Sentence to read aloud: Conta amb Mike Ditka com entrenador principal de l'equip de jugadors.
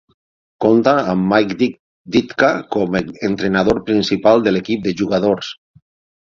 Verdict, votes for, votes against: rejected, 3, 6